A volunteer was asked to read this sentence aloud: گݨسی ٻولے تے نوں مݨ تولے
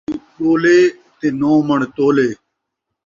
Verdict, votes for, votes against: rejected, 0, 2